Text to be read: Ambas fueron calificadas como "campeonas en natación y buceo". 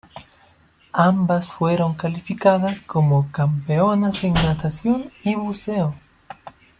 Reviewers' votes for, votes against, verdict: 2, 0, accepted